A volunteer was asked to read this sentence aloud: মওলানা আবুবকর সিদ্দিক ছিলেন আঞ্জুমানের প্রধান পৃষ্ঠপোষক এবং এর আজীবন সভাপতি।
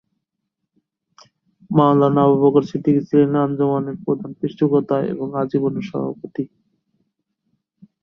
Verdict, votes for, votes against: rejected, 0, 3